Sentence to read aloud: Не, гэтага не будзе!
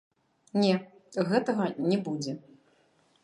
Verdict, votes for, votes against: rejected, 0, 2